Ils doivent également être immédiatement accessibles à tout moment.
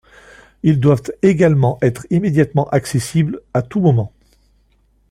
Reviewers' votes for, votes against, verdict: 2, 0, accepted